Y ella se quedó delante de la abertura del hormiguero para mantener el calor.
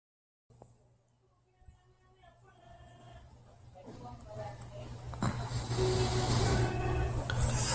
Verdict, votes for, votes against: rejected, 0, 2